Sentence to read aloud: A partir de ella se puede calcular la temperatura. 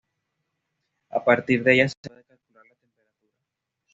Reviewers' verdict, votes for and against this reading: rejected, 1, 2